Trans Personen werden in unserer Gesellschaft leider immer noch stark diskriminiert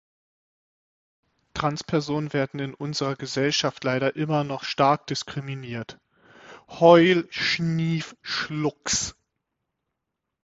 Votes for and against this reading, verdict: 0, 6, rejected